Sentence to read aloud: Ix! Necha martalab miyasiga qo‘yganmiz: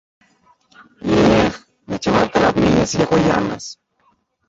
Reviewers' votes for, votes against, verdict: 0, 2, rejected